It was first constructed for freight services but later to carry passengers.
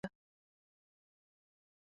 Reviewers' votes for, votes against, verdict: 0, 2, rejected